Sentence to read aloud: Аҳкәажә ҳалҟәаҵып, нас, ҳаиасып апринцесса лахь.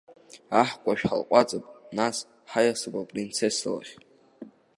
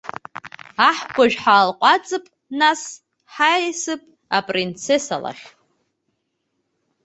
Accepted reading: first